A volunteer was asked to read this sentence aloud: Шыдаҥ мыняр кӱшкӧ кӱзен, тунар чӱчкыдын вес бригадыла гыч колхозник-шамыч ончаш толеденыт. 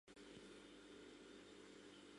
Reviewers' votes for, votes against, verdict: 0, 2, rejected